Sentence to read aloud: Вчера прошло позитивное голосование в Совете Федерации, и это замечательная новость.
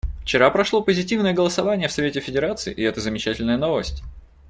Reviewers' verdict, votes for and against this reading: accepted, 2, 0